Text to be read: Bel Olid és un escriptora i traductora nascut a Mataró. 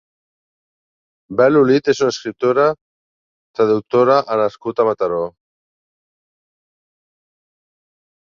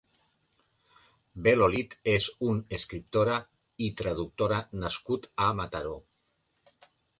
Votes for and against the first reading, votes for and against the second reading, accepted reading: 0, 3, 2, 0, second